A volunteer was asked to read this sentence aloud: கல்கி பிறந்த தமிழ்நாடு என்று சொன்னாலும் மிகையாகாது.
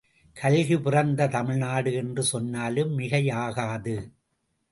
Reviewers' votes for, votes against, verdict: 2, 0, accepted